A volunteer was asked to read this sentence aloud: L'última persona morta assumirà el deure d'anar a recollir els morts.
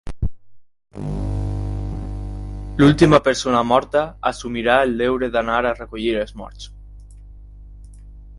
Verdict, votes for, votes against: rejected, 2, 4